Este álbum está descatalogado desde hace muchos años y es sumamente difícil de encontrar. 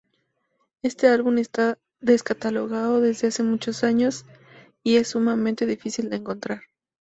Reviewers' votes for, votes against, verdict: 0, 2, rejected